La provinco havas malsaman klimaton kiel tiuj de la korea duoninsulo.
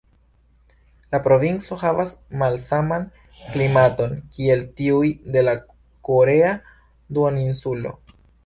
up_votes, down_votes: 2, 0